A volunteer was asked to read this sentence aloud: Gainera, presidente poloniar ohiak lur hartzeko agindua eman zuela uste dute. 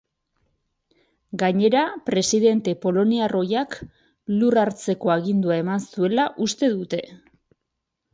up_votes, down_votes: 4, 0